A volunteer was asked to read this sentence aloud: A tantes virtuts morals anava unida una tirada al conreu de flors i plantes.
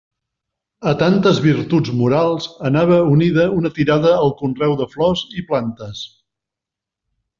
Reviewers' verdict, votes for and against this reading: accepted, 2, 0